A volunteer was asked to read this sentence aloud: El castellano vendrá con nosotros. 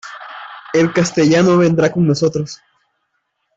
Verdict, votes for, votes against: accepted, 2, 0